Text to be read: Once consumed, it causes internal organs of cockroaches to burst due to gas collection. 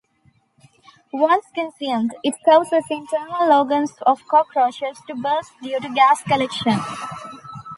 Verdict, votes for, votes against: rejected, 0, 2